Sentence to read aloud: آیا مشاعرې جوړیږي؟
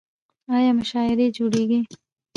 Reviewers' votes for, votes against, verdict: 0, 2, rejected